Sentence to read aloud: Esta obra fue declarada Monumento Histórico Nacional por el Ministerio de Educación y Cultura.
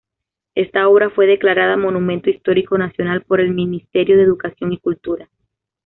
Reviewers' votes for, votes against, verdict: 2, 0, accepted